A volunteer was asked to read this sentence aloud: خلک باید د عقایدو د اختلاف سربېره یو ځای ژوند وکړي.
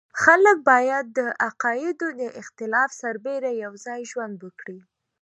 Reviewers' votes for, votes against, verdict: 2, 0, accepted